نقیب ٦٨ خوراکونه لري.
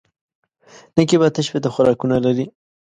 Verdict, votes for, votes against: rejected, 0, 2